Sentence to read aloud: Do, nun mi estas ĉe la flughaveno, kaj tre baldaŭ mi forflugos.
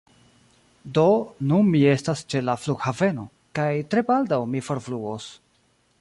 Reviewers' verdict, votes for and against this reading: rejected, 0, 2